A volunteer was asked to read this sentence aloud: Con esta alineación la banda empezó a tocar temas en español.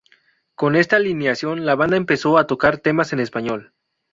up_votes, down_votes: 2, 0